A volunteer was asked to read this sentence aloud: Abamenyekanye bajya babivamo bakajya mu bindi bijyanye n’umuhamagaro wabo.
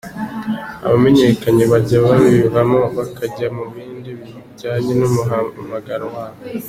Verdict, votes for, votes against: accepted, 2, 0